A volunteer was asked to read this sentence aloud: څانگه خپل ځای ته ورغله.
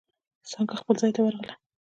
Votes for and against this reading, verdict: 2, 0, accepted